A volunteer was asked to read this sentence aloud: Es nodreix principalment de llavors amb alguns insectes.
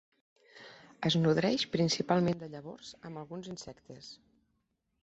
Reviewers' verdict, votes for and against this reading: rejected, 1, 2